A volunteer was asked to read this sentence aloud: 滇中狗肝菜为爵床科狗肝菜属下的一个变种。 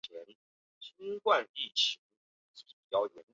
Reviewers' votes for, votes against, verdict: 0, 2, rejected